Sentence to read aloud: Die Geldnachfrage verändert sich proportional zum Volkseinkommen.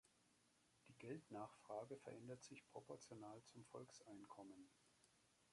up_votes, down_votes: 1, 2